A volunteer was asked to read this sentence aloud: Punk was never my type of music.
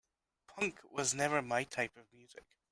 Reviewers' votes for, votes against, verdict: 1, 2, rejected